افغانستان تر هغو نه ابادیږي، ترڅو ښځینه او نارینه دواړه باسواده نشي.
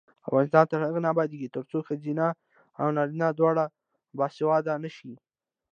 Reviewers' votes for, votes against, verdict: 2, 0, accepted